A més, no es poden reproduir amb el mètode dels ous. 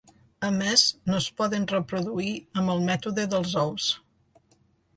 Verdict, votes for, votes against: accepted, 2, 1